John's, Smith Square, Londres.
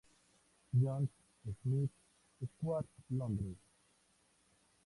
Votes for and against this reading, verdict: 2, 0, accepted